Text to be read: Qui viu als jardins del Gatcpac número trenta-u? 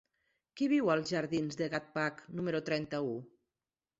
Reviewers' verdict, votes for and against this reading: accepted, 2, 0